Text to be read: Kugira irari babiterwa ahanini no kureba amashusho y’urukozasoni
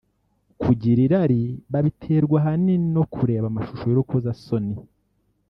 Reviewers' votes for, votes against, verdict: 1, 2, rejected